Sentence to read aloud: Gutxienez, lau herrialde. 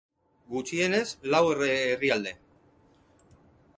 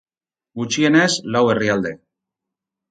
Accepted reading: second